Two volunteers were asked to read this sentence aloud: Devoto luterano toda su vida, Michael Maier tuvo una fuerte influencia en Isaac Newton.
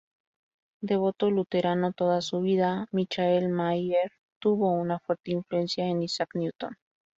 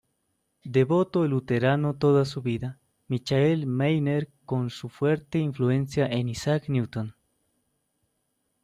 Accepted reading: first